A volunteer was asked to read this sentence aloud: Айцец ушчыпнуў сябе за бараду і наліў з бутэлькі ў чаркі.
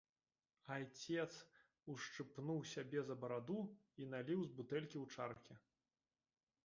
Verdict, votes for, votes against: rejected, 0, 2